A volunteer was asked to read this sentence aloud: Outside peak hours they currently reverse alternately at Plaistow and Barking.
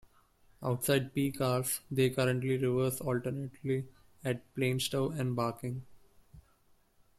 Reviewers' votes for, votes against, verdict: 0, 2, rejected